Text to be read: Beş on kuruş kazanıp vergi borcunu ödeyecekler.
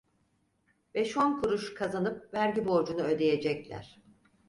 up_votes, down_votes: 4, 0